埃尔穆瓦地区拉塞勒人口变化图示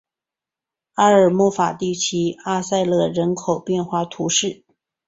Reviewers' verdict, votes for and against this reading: accepted, 2, 0